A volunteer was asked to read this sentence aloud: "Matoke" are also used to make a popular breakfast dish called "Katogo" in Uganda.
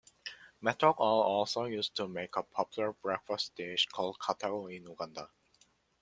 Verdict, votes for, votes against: rejected, 1, 2